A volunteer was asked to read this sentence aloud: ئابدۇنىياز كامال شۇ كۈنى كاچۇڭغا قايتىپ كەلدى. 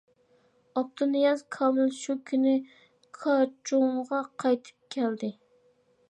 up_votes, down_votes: 0, 2